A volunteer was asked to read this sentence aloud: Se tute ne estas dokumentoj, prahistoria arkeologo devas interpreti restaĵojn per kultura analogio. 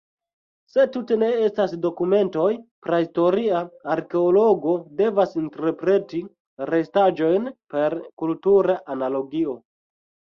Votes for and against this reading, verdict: 1, 2, rejected